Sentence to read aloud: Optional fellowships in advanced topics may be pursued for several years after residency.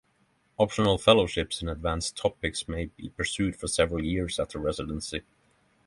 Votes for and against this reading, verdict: 6, 0, accepted